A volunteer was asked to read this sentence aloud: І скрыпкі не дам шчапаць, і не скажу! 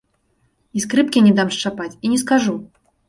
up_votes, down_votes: 2, 0